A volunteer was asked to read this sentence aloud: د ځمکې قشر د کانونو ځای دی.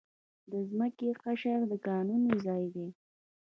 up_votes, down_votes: 1, 2